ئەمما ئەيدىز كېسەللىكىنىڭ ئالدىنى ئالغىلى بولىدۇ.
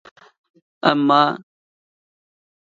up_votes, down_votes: 0, 2